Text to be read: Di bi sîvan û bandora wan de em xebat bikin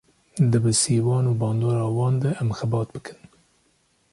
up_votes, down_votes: 2, 0